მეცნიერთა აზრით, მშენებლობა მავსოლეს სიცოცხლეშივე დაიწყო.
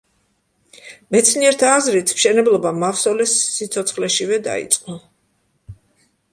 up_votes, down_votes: 2, 0